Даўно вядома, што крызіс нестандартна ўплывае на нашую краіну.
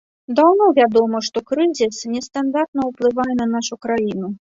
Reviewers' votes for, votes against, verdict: 1, 3, rejected